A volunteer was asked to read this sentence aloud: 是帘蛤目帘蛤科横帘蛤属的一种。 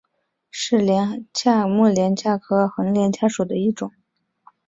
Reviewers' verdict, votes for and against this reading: accepted, 3, 2